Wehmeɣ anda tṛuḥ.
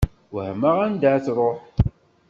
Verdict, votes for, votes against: rejected, 1, 2